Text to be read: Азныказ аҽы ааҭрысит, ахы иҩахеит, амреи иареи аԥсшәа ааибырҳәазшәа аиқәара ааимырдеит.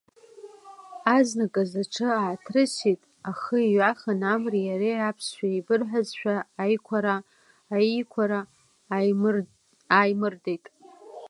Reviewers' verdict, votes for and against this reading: rejected, 0, 2